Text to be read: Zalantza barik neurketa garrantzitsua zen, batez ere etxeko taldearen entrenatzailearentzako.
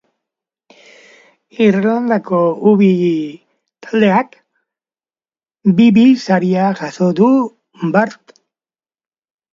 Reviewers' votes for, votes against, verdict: 0, 2, rejected